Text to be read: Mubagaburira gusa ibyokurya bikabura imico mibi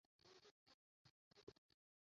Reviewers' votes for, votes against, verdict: 0, 2, rejected